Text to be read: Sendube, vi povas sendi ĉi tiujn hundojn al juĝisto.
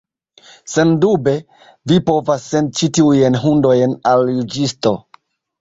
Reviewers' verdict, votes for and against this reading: rejected, 1, 2